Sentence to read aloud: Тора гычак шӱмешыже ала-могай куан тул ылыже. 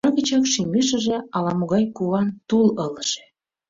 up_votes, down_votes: 1, 2